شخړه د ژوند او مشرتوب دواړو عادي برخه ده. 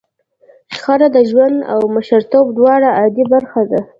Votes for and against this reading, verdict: 1, 2, rejected